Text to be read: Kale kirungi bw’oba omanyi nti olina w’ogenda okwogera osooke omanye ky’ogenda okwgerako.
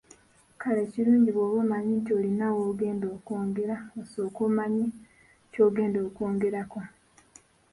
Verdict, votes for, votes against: accepted, 2, 1